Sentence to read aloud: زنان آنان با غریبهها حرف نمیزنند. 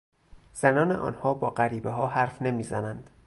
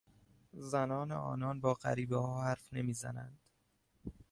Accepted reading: second